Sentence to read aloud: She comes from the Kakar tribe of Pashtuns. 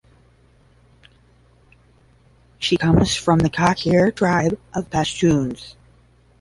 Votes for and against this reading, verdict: 0, 10, rejected